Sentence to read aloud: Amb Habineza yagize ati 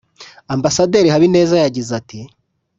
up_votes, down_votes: 2, 0